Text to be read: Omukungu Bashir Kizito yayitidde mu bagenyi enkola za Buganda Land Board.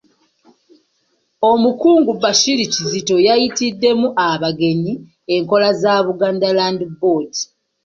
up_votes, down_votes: 2, 0